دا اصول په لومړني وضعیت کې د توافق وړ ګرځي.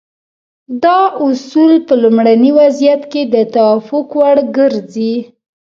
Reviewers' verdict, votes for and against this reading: accepted, 2, 0